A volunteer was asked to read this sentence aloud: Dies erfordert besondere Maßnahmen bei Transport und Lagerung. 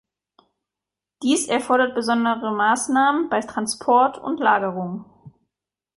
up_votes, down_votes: 2, 0